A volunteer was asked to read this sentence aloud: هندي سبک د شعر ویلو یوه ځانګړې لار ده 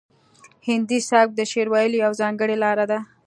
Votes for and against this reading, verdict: 2, 1, accepted